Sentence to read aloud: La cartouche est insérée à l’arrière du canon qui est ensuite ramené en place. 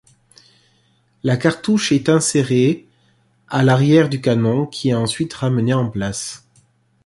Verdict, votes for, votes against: accepted, 2, 0